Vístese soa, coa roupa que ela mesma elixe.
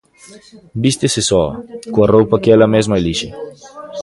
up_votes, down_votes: 0, 2